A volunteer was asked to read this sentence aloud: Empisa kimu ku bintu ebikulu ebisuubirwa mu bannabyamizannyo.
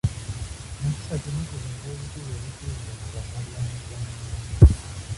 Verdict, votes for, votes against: rejected, 0, 2